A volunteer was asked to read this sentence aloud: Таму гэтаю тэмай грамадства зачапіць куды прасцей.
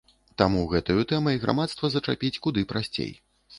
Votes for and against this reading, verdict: 2, 0, accepted